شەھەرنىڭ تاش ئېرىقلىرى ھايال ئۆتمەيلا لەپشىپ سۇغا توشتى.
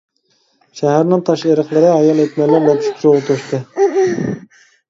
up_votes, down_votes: 0, 2